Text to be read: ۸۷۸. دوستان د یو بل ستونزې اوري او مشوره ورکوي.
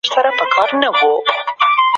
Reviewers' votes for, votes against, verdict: 0, 2, rejected